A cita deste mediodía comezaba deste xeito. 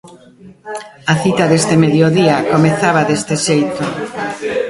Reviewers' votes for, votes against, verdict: 0, 2, rejected